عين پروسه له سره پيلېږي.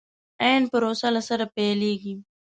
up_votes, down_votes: 1, 2